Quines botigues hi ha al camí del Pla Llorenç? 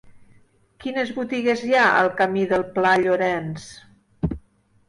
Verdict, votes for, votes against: accepted, 3, 0